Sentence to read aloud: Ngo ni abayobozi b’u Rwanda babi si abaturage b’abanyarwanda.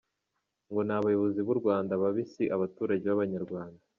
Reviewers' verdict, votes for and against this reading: accepted, 2, 0